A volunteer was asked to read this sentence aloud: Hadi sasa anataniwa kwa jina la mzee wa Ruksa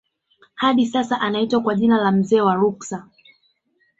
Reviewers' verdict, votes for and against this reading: rejected, 0, 2